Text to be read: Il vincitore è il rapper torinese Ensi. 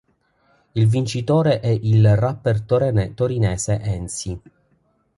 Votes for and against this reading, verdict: 0, 2, rejected